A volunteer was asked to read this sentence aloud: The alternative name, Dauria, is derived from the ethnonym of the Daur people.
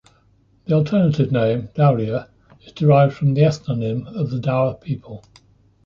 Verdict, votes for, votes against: accepted, 2, 0